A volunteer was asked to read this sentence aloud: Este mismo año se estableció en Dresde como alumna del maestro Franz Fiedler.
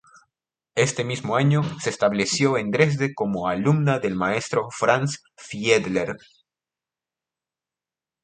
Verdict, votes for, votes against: accepted, 2, 0